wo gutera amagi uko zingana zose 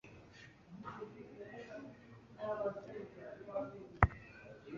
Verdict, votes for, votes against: rejected, 0, 2